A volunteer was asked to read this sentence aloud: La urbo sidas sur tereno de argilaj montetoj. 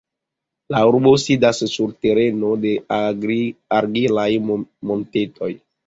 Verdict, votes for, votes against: accepted, 2, 0